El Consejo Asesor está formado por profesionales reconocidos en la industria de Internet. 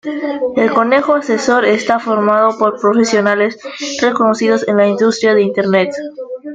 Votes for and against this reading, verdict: 1, 2, rejected